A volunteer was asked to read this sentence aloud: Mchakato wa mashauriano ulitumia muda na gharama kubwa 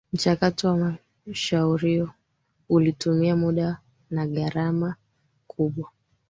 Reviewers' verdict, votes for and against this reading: rejected, 2, 3